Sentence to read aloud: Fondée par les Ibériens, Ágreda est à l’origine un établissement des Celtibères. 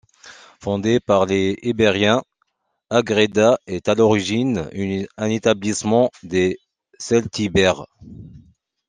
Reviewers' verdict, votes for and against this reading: rejected, 0, 2